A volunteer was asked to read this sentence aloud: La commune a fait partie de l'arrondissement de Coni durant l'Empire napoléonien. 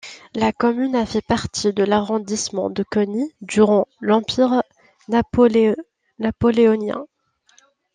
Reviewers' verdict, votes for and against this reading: rejected, 0, 2